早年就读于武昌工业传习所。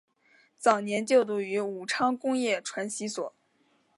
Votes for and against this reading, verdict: 3, 2, accepted